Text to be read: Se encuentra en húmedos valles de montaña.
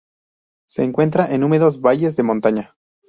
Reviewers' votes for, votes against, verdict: 2, 0, accepted